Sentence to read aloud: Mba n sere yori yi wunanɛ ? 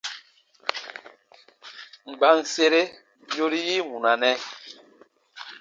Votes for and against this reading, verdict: 2, 0, accepted